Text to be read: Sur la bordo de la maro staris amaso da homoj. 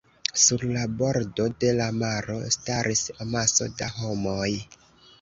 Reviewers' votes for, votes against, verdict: 2, 0, accepted